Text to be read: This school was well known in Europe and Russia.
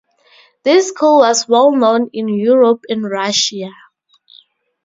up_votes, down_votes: 2, 0